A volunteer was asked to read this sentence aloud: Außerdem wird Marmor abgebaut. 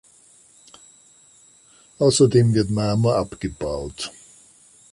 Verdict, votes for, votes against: accepted, 2, 0